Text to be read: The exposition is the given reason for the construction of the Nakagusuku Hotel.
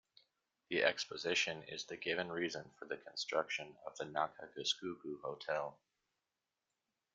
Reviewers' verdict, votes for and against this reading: rejected, 0, 2